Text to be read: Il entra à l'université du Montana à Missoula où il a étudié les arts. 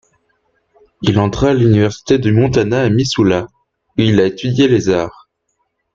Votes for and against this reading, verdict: 0, 2, rejected